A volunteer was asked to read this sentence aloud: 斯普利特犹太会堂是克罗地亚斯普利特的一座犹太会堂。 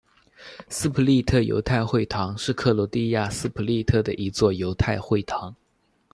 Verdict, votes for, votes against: accepted, 2, 0